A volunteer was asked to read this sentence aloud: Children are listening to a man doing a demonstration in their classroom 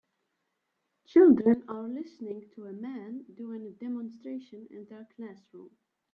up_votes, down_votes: 2, 3